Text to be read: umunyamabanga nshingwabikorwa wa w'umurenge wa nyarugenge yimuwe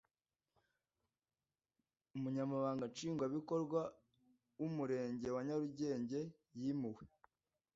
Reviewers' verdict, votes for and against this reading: accepted, 2, 0